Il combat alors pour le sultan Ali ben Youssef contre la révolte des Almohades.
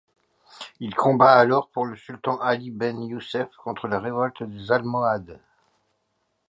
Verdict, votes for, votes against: accepted, 2, 0